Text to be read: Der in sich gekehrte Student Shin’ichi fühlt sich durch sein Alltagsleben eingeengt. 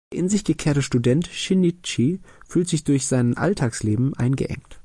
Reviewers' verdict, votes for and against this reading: rejected, 1, 2